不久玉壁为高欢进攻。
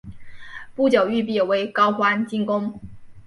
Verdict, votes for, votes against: accepted, 2, 1